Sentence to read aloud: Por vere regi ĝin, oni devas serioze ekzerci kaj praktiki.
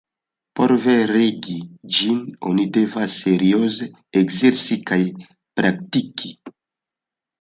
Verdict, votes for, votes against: rejected, 1, 2